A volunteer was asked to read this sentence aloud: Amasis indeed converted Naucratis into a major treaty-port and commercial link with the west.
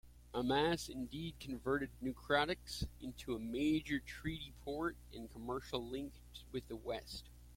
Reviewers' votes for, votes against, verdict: 1, 2, rejected